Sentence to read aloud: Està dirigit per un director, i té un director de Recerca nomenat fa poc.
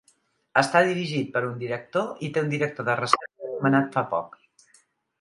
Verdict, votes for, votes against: rejected, 1, 2